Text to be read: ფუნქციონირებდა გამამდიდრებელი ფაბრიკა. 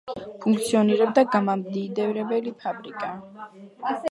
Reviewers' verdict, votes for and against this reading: accepted, 2, 0